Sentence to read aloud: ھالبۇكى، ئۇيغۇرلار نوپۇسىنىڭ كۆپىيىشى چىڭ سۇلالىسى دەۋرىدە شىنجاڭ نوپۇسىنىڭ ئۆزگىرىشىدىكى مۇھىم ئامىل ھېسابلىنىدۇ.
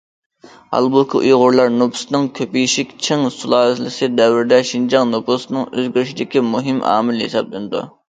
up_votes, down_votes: 2, 0